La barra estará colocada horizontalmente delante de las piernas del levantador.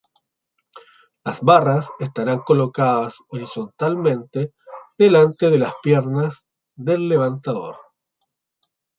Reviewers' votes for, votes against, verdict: 0, 2, rejected